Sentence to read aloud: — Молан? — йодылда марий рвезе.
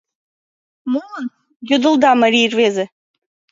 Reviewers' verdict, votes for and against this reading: rejected, 1, 2